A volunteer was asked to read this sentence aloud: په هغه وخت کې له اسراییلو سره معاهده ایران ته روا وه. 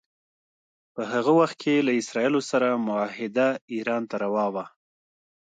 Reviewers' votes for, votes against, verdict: 2, 0, accepted